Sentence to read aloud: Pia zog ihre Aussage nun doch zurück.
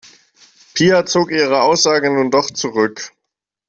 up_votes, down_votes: 2, 0